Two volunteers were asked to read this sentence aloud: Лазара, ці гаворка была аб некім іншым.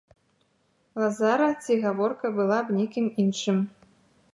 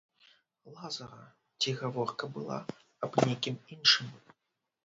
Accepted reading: first